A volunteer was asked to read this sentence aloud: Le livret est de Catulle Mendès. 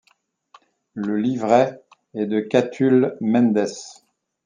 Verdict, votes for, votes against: accepted, 2, 0